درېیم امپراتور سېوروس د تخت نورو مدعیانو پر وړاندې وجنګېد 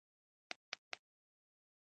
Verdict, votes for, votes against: accepted, 2, 0